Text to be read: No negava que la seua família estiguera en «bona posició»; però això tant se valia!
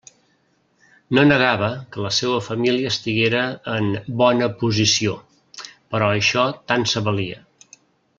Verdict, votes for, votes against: accepted, 2, 0